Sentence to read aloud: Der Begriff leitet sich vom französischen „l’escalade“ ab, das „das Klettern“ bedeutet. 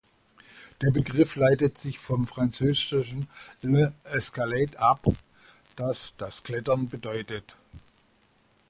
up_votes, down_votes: 0, 2